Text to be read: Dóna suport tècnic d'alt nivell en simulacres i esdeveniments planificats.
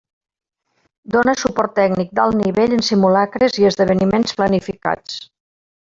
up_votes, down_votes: 1, 2